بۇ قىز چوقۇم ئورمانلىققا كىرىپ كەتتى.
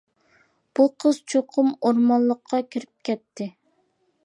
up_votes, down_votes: 2, 0